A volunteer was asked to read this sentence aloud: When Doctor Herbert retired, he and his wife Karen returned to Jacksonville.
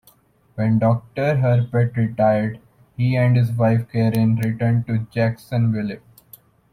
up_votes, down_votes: 2, 0